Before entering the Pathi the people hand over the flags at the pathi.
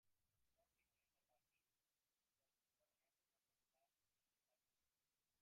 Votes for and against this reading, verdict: 0, 2, rejected